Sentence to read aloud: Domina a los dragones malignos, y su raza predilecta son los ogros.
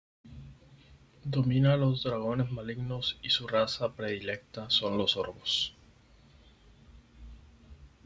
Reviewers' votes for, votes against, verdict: 2, 4, rejected